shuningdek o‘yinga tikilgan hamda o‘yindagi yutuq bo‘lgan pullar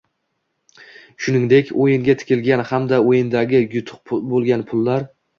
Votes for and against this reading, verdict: 2, 1, accepted